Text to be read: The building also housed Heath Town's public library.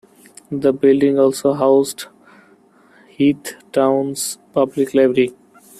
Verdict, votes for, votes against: accepted, 2, 1